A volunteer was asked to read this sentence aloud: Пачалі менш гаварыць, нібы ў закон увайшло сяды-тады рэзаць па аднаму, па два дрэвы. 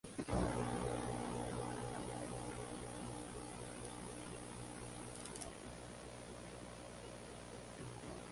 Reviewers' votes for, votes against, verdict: 0, 2, rejected